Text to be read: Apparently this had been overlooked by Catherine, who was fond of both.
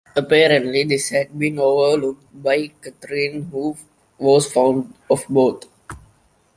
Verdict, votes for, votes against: rejected, 1, 2